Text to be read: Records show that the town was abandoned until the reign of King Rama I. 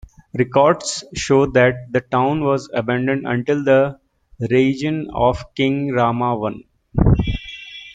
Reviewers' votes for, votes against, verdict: 1, 3, rejected